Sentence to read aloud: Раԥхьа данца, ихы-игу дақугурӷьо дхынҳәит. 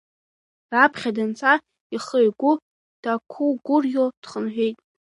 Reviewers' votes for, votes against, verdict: 2, 3, rejected